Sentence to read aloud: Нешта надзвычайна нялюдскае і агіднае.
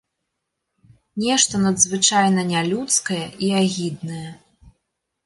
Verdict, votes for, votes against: accepted, 2, 0